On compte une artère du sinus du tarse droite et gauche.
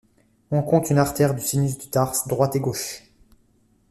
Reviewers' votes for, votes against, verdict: 2, 0, accepted